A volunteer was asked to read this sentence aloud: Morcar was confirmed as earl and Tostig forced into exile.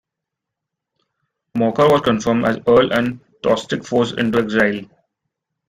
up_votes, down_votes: 0, 2